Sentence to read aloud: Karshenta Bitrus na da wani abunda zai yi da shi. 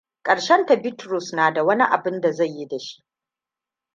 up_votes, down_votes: 2, 0